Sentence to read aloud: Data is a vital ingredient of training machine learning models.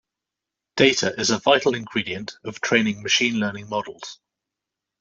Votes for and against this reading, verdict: 2, 0, accepted